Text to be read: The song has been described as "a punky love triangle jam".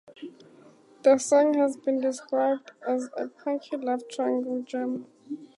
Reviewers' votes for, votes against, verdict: 2, 0, accepted